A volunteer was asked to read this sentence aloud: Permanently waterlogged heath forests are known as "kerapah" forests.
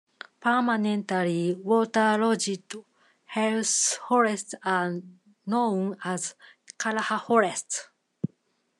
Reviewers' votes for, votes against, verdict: 0, 2, rejected